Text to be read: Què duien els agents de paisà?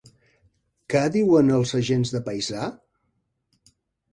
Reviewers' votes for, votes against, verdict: 1, 2, rejected